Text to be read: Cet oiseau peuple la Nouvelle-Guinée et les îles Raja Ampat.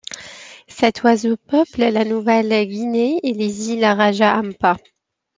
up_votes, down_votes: 2, 0